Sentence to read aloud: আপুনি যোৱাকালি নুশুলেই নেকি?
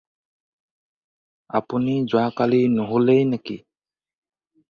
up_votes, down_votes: 4, 0